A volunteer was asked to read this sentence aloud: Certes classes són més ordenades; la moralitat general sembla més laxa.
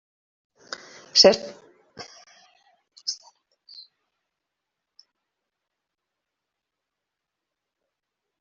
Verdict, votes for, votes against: rejected, 0, 2